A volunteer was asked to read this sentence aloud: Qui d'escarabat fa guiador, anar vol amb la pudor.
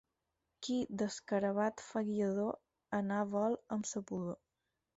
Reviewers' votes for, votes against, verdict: 0, 4, rejected